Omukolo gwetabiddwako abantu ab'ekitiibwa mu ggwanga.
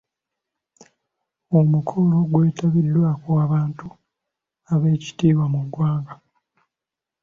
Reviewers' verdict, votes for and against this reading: accepted, 2, 1